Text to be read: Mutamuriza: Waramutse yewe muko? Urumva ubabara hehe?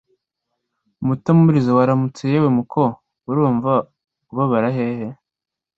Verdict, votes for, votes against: accepted, 2, 0